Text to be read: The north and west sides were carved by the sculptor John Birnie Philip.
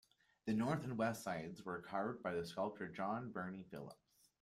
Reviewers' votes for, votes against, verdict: 2, 1, accepted